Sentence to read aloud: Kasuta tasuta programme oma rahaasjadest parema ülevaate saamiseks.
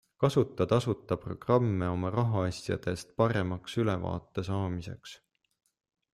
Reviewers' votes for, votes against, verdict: 0, 2, rejected